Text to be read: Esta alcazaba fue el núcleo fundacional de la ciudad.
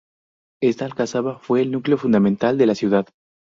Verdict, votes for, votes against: rejected, 0, 2